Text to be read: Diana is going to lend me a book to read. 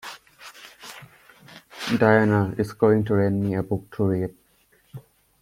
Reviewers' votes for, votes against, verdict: 2, 0, accepted